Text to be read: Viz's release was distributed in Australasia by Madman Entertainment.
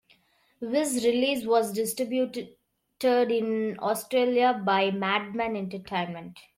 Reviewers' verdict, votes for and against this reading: rejected, 0, 2